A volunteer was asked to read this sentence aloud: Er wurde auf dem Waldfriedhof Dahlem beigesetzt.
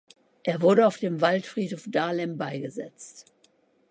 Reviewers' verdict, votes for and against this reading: accepted, 2, 0